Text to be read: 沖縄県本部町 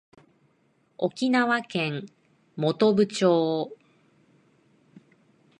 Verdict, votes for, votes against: accepted, 2, 0